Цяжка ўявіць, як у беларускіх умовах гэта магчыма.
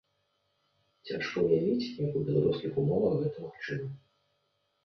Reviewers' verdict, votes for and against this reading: accepted, 2, 0